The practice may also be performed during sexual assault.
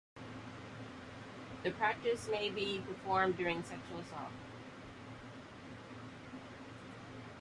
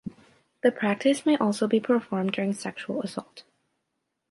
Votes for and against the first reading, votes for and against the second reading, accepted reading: 0, 2, 2, 0, second